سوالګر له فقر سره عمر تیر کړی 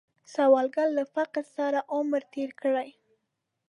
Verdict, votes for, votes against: accepted, 2, 0